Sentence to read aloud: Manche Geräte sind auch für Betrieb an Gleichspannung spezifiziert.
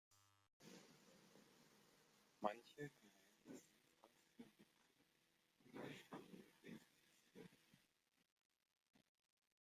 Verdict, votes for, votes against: rejected, 0, 2